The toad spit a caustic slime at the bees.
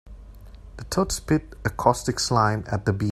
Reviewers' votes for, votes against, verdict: 0, 2, rejected